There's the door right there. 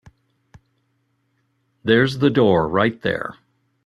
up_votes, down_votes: 2, 0